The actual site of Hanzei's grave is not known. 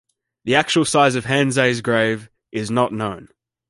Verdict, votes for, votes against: rejected, 1, 2